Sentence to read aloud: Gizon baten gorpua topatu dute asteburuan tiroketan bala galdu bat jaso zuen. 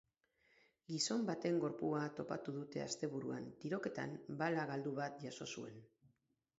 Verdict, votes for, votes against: rejected, 4, 4